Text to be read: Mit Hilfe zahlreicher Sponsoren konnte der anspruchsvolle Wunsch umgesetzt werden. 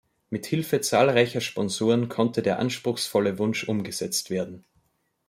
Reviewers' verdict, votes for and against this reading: accepted, 2, 0